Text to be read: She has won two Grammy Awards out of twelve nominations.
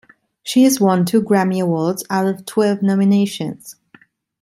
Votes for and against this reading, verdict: 2, 0, accepted